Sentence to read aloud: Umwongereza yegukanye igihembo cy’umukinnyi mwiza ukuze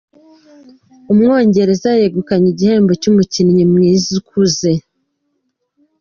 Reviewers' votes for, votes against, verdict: 3, 1, accepted